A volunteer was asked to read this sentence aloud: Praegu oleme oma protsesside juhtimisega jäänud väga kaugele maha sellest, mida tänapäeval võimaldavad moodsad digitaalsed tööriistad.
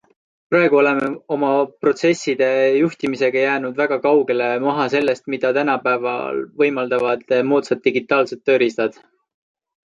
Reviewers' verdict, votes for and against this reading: accepted, 2, 1